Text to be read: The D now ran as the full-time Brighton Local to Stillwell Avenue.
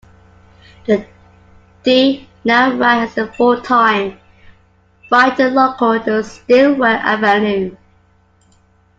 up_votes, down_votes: 2, 1